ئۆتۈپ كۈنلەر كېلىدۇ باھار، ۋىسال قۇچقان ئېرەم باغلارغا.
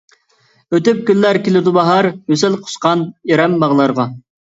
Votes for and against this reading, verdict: 1, 2, rejected